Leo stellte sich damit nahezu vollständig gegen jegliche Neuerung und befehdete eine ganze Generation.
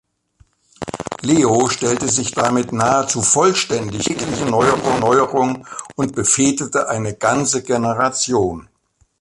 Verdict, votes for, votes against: rejected, 0, 2